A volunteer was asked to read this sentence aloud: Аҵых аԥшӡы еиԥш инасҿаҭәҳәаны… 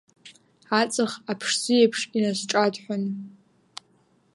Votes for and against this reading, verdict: 0, 2, rejected